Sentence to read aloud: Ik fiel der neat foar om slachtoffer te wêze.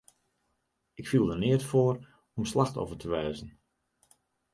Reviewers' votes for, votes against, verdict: 2, 0, accepted